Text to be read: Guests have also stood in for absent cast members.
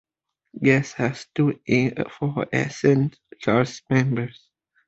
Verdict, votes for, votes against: rejected, 1, 2